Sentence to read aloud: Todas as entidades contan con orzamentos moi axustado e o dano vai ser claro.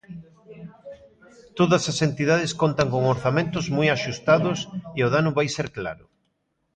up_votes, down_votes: 1, 2